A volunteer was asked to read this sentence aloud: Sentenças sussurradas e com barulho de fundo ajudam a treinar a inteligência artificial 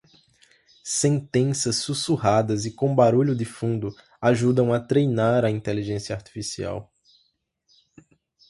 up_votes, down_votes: 2, 0